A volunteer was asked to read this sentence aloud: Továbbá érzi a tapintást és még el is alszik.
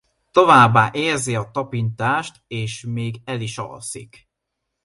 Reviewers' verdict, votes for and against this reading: accepted, 2, 0